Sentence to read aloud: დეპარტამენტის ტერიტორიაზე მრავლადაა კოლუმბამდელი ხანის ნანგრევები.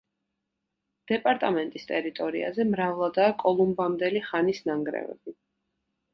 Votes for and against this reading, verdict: 2, 0, accepted